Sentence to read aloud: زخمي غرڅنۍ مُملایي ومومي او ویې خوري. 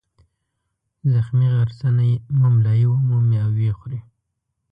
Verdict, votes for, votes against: rejected, 1, 2